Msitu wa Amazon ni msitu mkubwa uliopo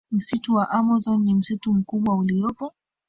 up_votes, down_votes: 1, 2